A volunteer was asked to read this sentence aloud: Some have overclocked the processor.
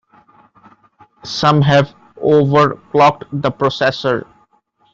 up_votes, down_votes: 1, 2